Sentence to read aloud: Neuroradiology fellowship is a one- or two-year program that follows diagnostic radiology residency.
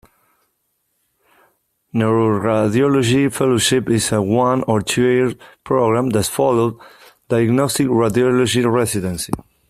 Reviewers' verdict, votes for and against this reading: accepted, 2, 0